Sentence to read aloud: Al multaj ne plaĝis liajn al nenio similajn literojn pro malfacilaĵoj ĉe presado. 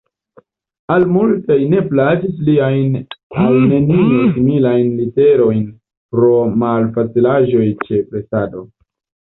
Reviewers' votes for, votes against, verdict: 1, 2, rejected